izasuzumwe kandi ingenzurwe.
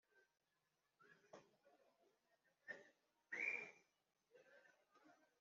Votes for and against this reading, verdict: 2, 0, accepted